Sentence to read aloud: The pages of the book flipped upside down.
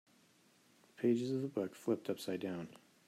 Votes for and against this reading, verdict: 2, 3, rejected